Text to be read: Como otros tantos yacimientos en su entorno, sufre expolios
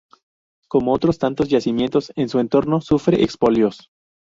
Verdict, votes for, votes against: rejected, 0, 4